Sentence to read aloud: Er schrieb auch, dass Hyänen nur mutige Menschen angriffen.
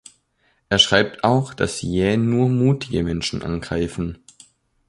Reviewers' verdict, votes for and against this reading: rejected, 0, 2